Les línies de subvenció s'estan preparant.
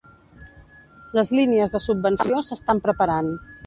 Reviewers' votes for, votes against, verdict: 1, 2, rejected